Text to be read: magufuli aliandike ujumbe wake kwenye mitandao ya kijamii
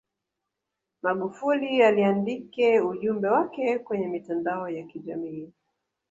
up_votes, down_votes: 1, 2